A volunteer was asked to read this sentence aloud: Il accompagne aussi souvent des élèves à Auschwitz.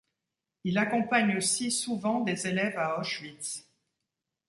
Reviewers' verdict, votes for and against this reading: rejected, 1, 2